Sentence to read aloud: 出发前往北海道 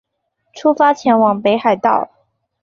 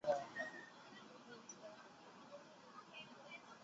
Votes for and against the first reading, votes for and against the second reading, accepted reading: 2, 0, 0, 2, first